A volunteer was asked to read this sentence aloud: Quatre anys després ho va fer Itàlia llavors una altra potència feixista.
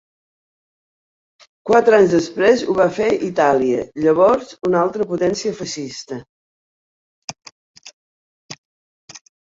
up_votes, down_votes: 1, 2